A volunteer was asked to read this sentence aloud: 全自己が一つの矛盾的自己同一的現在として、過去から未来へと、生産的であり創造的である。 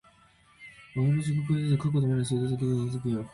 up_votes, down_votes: 0, 2